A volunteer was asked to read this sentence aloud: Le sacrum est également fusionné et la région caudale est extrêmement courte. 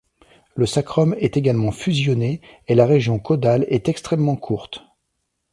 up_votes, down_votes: 2, 0